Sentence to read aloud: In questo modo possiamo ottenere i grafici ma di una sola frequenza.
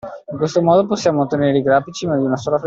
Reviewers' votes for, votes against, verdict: 0, 2, rejected